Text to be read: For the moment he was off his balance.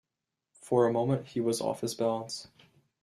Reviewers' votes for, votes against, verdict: 0, 2, rejected